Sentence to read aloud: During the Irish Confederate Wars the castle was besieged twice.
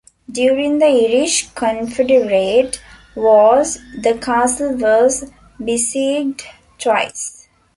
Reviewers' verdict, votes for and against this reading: rejected, 0, 2